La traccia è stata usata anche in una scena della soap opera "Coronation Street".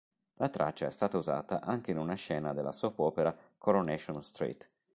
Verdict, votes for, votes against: accepted, 2, 0